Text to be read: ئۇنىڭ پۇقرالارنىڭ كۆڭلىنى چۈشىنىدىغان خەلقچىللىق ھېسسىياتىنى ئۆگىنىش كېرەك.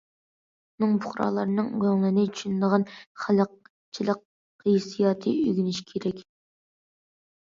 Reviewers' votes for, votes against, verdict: 0, 2, rejected